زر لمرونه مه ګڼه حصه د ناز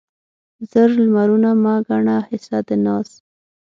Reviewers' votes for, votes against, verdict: 6, 0, accepted